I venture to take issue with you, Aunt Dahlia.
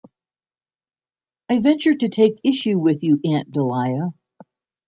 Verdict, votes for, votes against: accepted, 2, 1